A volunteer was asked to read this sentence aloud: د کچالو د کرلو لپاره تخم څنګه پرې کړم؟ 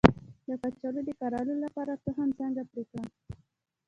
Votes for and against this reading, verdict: 3, 1, accepted